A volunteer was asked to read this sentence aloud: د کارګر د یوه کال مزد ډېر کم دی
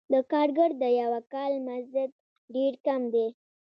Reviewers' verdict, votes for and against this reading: accepted, 2, 0